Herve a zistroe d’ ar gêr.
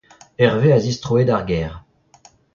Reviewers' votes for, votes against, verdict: 0, 2, rejected